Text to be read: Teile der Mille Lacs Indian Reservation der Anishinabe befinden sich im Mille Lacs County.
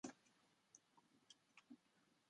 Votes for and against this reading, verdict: 0, 2, rejected